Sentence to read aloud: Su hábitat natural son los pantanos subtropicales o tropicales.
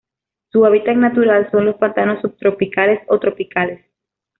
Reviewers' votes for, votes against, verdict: 1, 2, rejected